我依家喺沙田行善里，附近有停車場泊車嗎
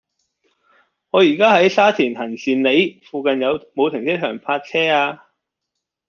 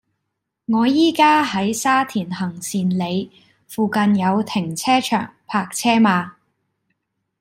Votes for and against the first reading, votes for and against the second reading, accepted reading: 0, 2, 2, 0, second